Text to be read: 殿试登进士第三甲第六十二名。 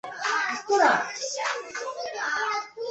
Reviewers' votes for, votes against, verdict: 0, 4, rejected